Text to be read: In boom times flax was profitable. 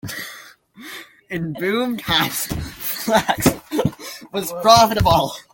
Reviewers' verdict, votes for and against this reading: accepted, 2, 1